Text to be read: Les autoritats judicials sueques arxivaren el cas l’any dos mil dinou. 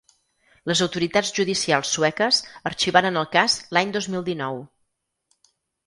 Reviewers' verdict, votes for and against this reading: accepted, 6, 0